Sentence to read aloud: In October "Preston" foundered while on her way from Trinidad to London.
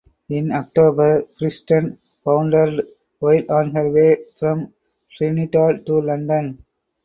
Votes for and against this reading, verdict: 2, 2, rejected